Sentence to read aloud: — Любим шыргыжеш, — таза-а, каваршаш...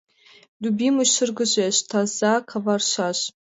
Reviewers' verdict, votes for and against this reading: rejected, 1, 2